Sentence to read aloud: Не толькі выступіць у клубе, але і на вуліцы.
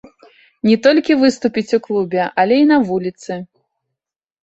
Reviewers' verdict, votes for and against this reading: accepted, 2, 0